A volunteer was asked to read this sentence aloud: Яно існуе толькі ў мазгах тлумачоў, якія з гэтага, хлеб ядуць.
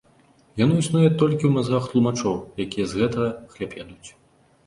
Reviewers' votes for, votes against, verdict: 2, 0, accepted